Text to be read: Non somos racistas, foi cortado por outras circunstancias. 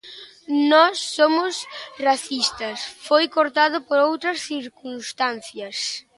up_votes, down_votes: 2, 0